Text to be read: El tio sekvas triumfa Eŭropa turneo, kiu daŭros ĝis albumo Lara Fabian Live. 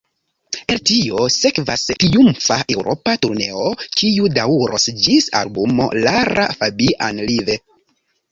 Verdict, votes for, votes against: accepted, 2, 1